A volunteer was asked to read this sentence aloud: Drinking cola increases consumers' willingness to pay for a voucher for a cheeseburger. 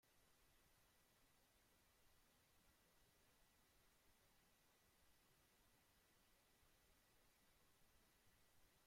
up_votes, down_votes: 0, 2